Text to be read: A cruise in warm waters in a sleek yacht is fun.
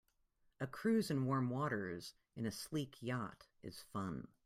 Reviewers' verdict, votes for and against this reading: accepted, 2, 0